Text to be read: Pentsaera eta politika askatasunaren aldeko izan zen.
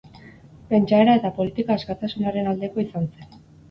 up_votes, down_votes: 2, 2